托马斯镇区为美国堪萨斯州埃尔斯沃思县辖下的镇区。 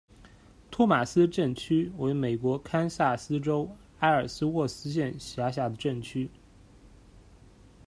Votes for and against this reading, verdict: 1, 2, rejected